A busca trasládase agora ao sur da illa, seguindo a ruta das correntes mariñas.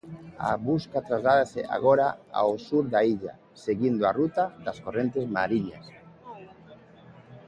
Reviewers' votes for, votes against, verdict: 2, 0, accepted